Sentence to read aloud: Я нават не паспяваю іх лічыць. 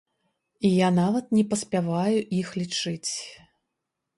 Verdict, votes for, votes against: accepted, 2, 0